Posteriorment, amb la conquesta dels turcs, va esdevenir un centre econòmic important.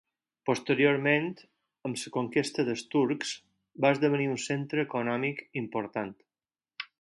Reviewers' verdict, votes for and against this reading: rejected, 0, 4